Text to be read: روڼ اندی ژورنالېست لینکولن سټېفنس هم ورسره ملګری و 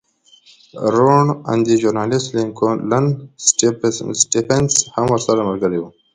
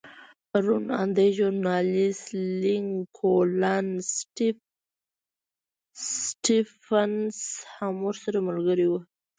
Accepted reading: first